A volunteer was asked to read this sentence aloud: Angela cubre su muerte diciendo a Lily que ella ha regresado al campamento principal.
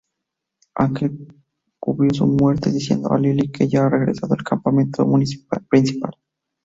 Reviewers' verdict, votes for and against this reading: rejected, 0, 2